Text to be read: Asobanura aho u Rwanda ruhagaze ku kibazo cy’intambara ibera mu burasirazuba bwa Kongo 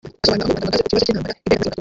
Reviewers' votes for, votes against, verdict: 0, 2, rejected